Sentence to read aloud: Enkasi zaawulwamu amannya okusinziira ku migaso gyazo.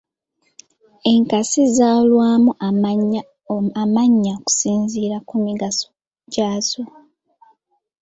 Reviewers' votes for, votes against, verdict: 2, 1, accepted